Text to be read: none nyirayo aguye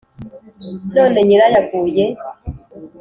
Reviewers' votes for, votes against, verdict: 2, 0, accepted